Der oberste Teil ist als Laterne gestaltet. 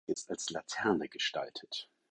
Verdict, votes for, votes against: rejected, 0, 4